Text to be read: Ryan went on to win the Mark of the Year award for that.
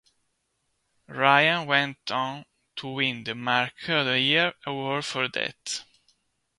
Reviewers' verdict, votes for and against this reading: accepted, 2, 0